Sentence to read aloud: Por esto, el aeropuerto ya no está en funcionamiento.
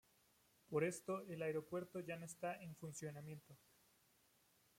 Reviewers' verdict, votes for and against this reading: accepted, 2, 0